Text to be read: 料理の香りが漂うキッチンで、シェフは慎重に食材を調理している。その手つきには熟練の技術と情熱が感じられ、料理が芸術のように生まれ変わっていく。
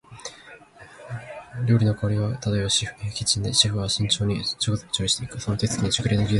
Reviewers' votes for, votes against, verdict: 12, 23, rejected